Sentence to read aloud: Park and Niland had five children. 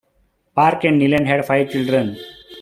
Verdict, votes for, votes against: accepted, 3, 0